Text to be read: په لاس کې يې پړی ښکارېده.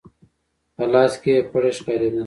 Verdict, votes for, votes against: accepted, 4, 1